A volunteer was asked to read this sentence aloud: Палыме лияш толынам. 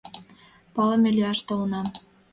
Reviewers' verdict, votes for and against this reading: accepted, 2, 0